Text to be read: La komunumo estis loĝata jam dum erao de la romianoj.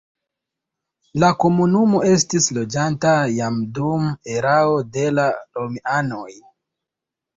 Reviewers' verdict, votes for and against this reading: rejected, 1, 2